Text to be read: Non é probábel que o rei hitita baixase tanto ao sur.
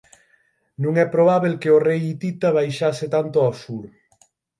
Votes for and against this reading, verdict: 6, 0, accepted